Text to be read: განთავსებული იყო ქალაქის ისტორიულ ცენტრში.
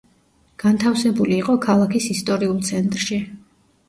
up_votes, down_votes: 2, 0